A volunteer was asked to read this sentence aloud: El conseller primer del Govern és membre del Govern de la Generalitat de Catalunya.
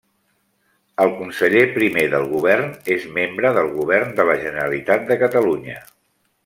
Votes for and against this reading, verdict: 3, 0, accepted